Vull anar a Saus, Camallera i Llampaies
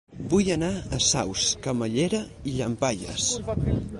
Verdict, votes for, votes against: rejected, 2, 4